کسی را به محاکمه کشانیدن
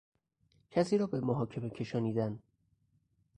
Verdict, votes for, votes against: accepted, 2, 0